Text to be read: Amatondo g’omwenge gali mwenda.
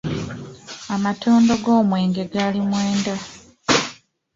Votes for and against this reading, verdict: 2, 0, accepted